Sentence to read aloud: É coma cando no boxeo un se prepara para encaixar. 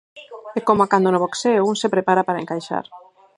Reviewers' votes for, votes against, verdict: 0, 4, rejected